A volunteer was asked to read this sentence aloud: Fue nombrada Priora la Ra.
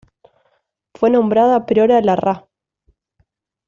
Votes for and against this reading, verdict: 2, 0, accepted